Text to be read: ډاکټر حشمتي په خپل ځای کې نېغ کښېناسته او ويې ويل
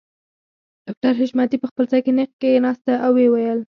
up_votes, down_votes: 2, 4